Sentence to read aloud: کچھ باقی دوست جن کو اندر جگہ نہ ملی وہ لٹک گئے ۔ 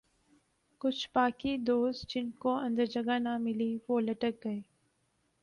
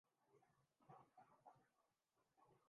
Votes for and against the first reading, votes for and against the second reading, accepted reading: 3, 0, 0, 3, first